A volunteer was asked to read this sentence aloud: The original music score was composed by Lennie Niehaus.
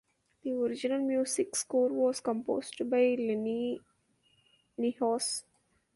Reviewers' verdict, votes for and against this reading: accepted, 2, 1